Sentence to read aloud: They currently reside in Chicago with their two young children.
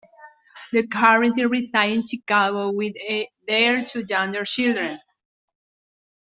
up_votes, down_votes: 0, 2